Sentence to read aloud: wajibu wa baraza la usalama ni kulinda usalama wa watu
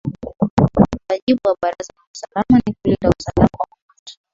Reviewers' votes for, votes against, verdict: 0, 2, rejected